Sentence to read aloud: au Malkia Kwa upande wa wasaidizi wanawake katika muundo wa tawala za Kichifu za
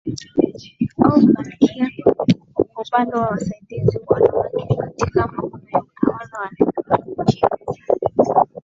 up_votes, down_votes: 0, 2